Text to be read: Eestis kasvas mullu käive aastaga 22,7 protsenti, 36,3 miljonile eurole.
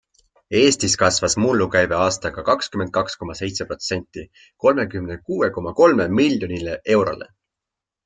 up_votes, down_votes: 0, 2